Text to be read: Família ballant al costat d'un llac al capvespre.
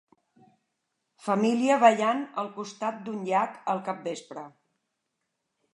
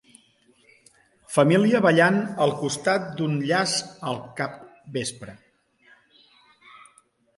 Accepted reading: first